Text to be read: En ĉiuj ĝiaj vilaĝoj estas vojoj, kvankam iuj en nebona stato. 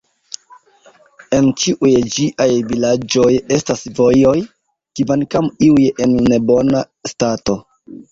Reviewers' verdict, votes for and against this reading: rejected, 0, 2